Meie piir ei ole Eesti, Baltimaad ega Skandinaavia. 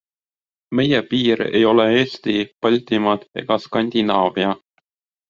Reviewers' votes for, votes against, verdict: 2, 0, accepted